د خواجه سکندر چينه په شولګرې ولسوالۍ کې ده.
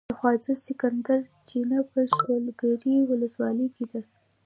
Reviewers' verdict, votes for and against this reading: accepted, 2, 0